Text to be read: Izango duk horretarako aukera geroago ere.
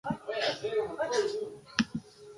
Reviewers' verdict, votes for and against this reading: rejected, 0, 2